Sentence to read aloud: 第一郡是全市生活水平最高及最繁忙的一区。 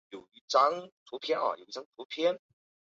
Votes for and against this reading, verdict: 0, 4, rejected